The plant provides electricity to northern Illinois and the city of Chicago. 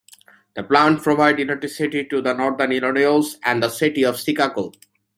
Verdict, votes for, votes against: rejected, 0, 2